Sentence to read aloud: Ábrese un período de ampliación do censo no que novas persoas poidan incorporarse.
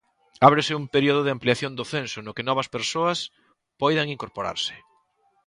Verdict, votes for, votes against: accepted, 2, 0